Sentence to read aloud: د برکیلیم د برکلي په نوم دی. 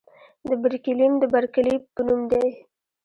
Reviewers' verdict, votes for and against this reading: rejected, 1, 2